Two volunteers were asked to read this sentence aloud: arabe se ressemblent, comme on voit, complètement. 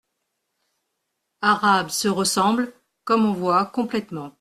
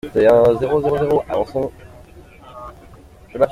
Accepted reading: first